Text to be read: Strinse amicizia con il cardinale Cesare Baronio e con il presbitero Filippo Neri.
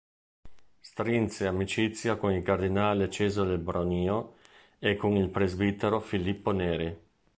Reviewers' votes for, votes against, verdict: 1, 2, rejected